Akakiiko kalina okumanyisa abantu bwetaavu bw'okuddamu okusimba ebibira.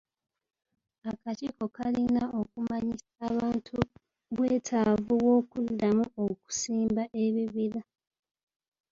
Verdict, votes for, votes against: accepted, 2, 1